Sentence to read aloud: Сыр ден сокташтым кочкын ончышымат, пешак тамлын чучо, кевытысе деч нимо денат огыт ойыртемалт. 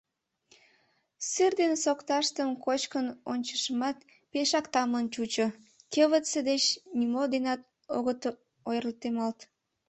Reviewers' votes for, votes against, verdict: 1, 2, rejected